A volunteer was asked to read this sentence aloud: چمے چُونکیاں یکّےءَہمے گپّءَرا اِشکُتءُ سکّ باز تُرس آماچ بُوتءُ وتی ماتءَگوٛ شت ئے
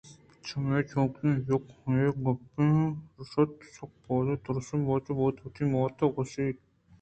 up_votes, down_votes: 2, 0